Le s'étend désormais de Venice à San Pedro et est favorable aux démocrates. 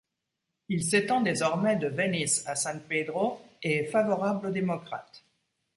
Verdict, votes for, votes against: rejected, 1, 2